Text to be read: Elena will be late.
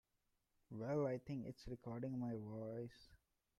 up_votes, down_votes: 0, 2